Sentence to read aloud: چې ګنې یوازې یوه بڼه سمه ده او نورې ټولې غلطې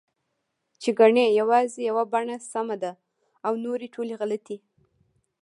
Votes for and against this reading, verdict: 1, 2, rejected